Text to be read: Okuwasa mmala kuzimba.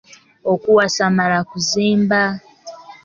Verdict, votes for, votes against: accepted, 2, 0